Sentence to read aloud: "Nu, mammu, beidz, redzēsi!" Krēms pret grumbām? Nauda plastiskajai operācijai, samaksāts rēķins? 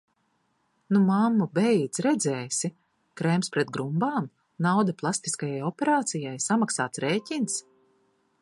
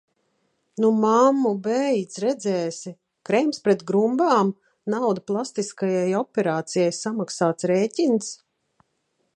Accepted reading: first